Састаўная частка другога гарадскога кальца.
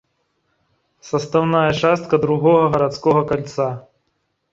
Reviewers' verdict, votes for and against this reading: accepted, 2, 1